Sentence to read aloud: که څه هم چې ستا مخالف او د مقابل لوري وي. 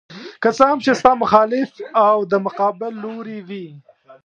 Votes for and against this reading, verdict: 0, 2, rejected